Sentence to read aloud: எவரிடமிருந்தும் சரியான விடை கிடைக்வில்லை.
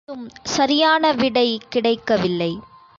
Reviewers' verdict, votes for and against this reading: rejected, 1, 2